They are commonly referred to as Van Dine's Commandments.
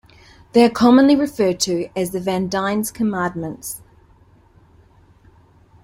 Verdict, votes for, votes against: rejected, 0, 2